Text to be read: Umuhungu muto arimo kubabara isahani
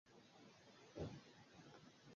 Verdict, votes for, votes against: accepted, 2, 1